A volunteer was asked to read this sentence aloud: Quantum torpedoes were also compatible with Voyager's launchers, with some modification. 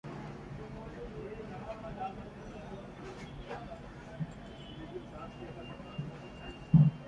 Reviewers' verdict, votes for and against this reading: rejected, 0, 2